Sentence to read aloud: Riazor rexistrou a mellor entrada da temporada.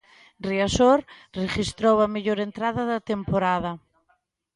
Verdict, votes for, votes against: rejected, 0, 2